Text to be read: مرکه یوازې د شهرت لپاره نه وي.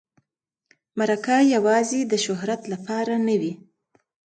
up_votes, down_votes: 2, 1